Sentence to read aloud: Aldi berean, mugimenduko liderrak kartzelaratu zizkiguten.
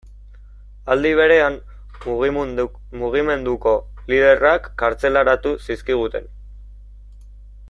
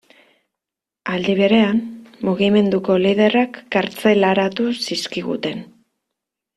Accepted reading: second